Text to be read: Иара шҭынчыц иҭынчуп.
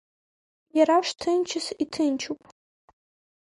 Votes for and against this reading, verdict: 2, 0, accepted